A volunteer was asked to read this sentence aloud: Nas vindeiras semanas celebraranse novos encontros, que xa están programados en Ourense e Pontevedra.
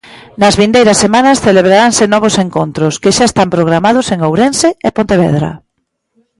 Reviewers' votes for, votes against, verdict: 2, 0, accepted